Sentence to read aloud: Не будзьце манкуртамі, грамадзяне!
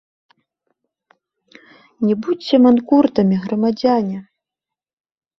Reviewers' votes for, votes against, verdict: 0, 2, rejected